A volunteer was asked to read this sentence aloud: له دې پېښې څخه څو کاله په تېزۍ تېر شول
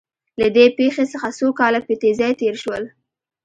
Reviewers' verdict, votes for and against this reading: accepted, 2, 1